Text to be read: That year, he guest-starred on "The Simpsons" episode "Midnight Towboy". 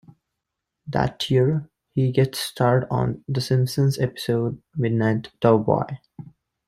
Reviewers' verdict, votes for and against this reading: rejected, 1, 2